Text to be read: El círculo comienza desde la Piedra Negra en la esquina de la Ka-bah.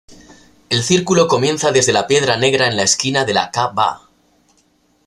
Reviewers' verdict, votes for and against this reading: accepted, 2, 0